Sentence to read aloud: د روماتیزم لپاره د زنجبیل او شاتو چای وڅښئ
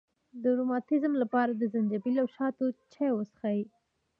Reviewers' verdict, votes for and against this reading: accepted, 2, 1